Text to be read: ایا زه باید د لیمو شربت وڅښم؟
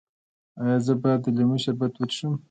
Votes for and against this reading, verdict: 2, 0, accepted